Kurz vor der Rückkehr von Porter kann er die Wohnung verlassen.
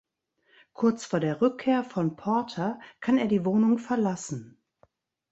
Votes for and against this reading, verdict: 2, 0, accepted